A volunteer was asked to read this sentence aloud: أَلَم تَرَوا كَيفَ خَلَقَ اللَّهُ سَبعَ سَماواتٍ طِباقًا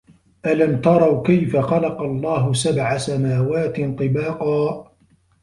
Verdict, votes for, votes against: accepted, 2, 0